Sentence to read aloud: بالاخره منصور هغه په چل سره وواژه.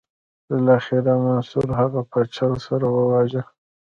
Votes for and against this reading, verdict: 0, 2, rejected